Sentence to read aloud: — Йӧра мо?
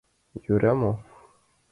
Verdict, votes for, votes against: accepted, 2, 0